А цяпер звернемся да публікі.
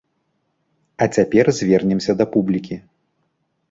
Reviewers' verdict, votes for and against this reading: accepted, 2, 0